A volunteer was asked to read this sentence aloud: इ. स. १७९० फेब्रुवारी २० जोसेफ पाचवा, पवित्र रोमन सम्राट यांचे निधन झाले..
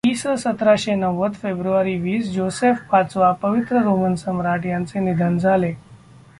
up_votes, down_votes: 0, 2